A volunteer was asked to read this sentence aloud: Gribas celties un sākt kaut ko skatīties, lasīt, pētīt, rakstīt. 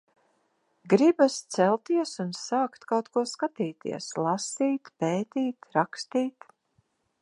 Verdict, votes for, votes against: accepted, 2, 1